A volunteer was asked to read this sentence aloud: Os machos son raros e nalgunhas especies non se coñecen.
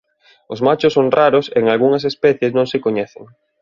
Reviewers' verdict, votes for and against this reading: rejected, 1, 2